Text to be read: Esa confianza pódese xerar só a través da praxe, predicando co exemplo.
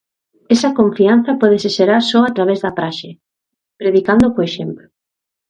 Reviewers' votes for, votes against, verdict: 1, 2, rejected